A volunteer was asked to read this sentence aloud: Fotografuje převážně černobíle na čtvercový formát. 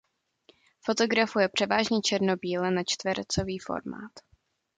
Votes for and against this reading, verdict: 2, 0, accepted